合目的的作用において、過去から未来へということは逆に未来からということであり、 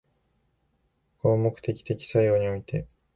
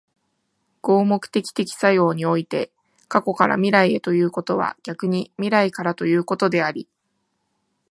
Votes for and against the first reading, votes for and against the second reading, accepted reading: 0, 2, 2, 0, second